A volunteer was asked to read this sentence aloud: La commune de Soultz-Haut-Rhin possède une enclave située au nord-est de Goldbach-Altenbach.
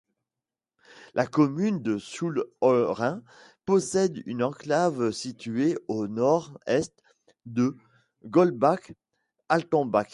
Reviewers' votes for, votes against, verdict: 1, 2, rejected